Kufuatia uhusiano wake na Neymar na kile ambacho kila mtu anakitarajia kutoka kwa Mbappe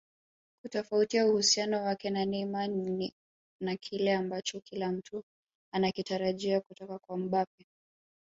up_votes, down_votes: 3, 2